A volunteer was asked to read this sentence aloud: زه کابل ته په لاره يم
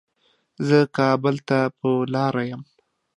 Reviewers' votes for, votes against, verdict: 2, 0, accepted